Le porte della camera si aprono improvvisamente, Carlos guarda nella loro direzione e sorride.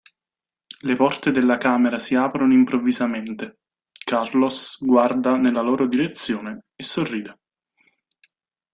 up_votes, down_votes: 2, 0